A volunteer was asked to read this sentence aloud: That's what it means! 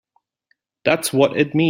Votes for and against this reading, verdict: 1, 2, rejected